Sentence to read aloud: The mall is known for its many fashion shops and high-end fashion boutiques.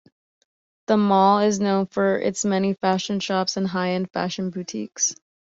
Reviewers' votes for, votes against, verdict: 2, 0, accepted